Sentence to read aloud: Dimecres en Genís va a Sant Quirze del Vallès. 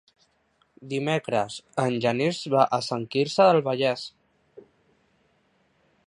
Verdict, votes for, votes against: accepted, 3, 0